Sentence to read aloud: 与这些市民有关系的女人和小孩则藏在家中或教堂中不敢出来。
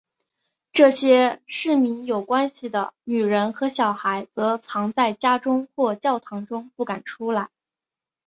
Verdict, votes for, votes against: accepted, 2, 0